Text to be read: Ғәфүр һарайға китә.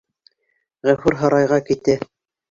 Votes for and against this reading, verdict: 2, 0, accepted